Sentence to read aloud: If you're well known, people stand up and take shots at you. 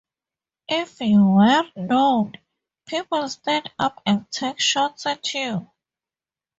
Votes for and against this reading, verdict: 0, 4, rejected